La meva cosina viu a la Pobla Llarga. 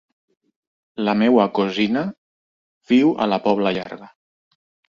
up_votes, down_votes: 2, 3